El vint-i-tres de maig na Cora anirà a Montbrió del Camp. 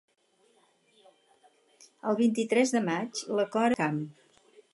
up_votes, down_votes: 0, 4